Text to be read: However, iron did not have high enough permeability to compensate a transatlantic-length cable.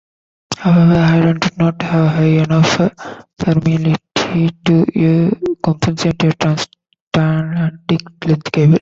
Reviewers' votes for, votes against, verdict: 1, 2, rejected